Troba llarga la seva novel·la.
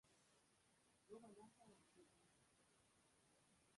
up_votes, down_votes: 1, 2